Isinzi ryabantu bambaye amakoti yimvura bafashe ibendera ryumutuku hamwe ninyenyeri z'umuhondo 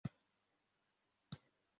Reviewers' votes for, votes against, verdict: 0, 2, rejected